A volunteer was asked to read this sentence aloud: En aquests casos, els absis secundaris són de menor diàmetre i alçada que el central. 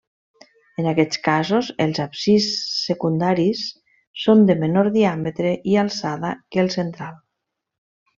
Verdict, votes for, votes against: rejected, 1, 2